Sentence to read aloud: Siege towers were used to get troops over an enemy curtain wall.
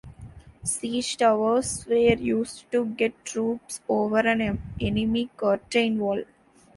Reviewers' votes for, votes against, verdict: 0, 3, rejected